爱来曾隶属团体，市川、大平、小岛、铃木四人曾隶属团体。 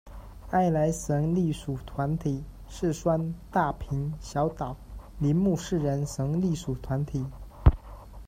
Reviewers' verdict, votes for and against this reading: rejected, 1, 2